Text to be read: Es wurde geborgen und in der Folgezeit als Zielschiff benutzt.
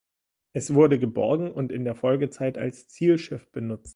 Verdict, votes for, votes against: accepted, 2, 0